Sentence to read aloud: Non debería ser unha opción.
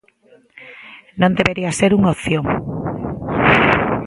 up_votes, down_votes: 2, 0